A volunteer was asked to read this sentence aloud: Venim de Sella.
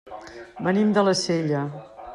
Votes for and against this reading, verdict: 0, 2, rejected